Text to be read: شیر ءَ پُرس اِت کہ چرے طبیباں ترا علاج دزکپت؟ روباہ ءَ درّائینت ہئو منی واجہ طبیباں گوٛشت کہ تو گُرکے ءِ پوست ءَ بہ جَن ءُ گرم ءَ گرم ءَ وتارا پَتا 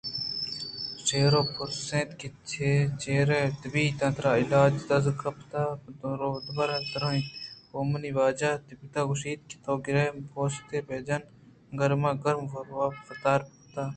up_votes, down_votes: 2, 0